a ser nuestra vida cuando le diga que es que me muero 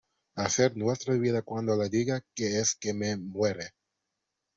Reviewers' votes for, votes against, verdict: 0, 2, rejected